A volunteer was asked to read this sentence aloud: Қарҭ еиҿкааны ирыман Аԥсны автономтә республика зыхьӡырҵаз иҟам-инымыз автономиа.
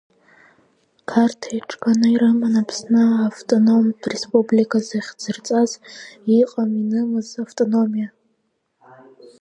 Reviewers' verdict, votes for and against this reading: rejected, 0, 2